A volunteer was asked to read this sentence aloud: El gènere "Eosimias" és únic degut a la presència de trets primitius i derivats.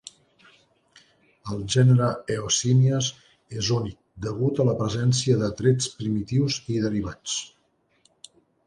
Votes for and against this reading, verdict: 4, 0, accepted